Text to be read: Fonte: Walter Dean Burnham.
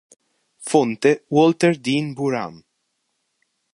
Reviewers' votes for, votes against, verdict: 1, 2, rejected